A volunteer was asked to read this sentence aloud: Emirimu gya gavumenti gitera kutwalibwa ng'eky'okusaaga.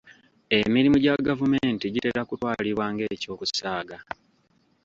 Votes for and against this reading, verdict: 2, 1, accepted